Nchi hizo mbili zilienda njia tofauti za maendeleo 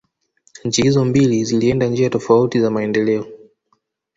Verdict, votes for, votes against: rejected, 0, 2